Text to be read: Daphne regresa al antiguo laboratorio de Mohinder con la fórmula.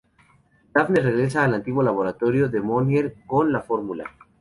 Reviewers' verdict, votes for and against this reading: accepted, 2, 0